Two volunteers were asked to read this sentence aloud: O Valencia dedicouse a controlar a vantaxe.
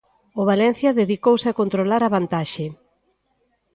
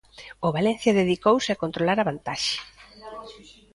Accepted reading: first